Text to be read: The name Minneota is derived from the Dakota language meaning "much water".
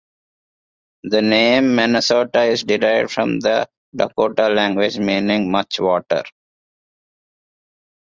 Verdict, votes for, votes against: rejected, 0, 2